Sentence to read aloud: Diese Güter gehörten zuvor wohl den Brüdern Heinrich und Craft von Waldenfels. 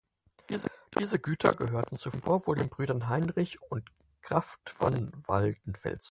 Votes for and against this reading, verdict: 0, 4, rejected